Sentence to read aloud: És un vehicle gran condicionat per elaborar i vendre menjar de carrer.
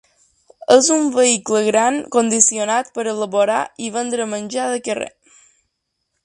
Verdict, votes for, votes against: accepted, 2, 0